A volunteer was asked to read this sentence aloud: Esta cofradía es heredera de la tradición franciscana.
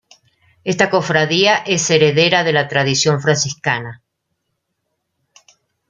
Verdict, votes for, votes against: accepted, 2, 0